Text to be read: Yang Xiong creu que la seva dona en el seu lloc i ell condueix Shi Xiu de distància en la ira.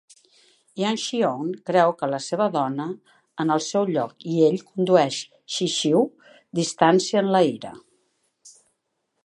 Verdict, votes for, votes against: rejected, 0, 2